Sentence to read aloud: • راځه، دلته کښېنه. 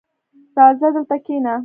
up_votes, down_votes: 2, 1